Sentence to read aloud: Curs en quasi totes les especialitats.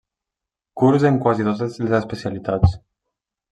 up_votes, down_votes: 1, 2